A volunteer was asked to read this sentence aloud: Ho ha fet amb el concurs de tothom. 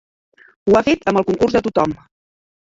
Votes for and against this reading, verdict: 1, 2, rejected